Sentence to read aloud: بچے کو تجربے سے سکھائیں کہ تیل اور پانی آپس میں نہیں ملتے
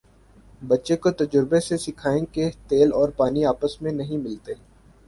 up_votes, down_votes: 2, 2